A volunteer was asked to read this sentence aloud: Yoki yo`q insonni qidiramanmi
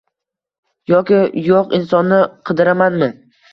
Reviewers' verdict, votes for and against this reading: accepted, 2, 0